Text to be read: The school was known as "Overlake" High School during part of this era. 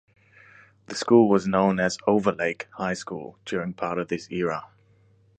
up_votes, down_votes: 2, 0